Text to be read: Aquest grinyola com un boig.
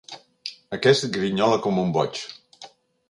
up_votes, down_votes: 2, 0